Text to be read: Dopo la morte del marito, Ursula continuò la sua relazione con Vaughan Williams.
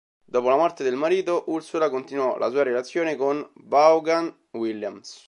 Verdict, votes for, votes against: accepted, 2, 0